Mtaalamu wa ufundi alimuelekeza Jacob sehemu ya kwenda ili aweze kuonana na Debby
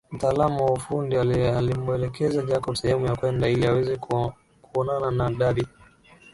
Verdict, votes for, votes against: rejected, 2, 5